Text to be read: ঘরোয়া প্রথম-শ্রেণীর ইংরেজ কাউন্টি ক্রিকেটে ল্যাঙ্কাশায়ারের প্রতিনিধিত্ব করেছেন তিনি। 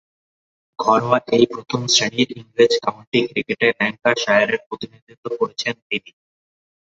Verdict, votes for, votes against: rejected, 0, 3